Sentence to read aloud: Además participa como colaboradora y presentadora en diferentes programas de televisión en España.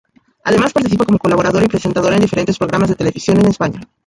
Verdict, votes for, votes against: accepted, 2, 0